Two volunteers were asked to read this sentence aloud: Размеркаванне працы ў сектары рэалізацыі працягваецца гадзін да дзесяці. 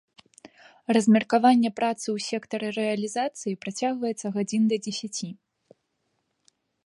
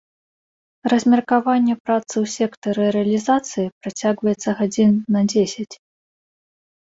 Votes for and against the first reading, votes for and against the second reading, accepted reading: 2, 0, 1, 2, first